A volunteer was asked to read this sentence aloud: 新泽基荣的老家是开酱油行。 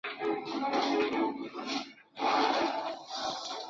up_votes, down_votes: 0, 2